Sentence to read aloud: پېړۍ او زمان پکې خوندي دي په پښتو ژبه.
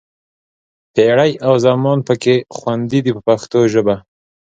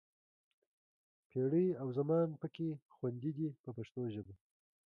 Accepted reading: first